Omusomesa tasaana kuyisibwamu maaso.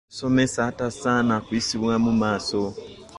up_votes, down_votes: 1, 2